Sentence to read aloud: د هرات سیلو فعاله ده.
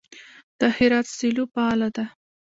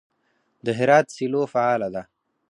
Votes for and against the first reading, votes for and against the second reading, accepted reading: 2, 1, 2, 4, first